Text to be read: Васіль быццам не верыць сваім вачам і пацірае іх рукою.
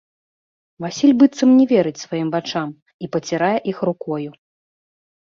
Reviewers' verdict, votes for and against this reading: accepted, 2, 0